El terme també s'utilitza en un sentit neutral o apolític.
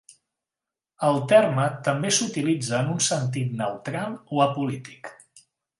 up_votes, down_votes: 3, 0